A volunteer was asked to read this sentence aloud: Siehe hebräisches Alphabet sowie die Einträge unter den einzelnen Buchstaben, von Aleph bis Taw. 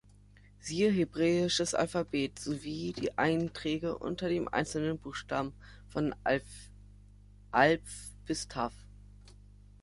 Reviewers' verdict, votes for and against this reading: rejected, 0, 3